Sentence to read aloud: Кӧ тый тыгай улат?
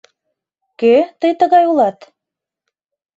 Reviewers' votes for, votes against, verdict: 2, 0, accepted